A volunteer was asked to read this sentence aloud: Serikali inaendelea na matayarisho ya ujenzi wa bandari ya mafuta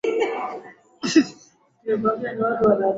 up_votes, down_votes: 2, 10